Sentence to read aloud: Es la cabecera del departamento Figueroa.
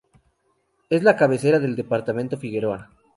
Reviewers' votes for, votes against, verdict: 0, 2, rejected